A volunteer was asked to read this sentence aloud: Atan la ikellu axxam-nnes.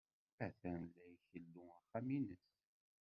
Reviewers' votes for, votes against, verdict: 0, 2, rejected